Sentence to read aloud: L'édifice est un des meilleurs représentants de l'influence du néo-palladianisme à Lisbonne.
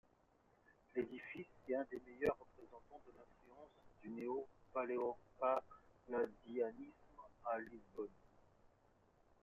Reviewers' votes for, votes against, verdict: 2, 0, accepted